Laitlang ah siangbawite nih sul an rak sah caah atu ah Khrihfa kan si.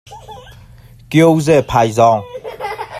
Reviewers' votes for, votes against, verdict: 0, 2, rejected